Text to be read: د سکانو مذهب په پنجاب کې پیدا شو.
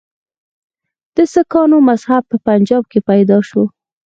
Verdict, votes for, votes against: accepted, 4, 0